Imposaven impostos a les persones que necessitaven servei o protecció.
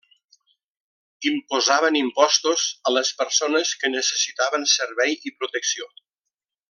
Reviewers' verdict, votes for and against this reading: rejected, 1, 2